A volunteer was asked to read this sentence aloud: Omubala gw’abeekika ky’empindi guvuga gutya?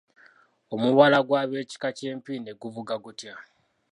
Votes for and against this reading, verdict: 2, 0, accepted